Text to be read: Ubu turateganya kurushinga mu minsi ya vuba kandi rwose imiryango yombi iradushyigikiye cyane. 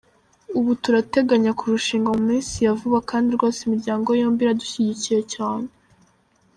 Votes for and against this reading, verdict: 2, 0, accepted